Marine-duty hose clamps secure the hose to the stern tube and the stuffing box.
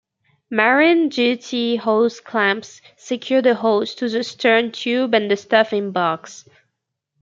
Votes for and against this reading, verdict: 0, 2, rejected